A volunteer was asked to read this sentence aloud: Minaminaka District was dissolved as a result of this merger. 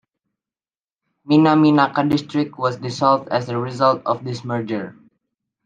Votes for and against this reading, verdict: 2, 0, accepted